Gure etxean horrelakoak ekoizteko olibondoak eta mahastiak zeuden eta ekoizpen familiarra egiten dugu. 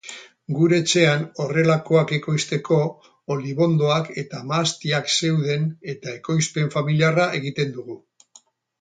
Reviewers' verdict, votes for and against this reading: accepted, 8, 0